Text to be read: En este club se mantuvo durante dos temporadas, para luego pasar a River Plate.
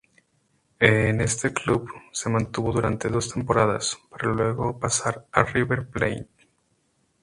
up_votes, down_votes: 0, 2